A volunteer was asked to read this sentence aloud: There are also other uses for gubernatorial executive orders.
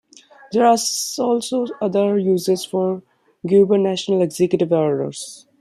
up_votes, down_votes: 2, 1